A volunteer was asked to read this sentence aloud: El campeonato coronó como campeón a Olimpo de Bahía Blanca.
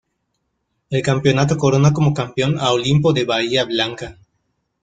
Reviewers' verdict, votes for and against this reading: rejected, 1, 2